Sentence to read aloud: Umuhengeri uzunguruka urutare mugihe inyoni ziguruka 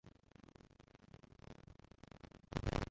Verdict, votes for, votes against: rejected, 0, 2